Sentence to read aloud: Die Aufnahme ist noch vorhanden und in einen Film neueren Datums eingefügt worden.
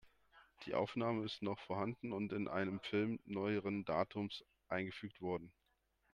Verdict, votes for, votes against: rejected, 0, 2